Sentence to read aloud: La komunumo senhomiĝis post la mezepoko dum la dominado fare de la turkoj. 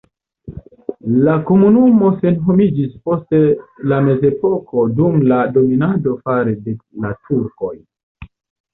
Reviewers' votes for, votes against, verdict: 0, 2, rejected